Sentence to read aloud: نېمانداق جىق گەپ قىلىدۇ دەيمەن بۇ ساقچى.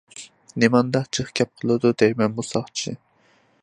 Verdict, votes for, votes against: accepted, 2, 0